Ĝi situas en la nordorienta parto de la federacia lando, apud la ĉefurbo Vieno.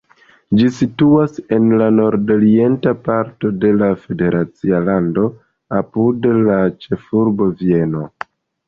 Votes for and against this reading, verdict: 2, 1, accepted